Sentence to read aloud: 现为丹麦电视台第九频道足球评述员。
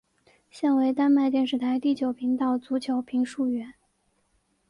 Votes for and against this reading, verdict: 2, 0, accepted